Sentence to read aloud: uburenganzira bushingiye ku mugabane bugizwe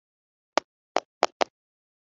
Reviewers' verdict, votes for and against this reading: rejected, 1, 2